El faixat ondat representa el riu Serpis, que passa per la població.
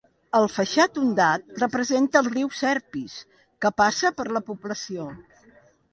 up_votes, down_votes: 2, 0